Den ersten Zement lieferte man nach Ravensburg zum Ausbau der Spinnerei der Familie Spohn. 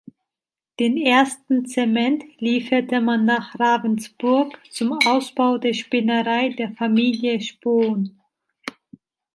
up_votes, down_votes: 2, 0